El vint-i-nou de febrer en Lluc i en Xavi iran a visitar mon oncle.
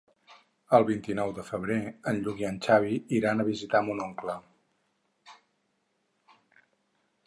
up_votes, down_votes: 6, 0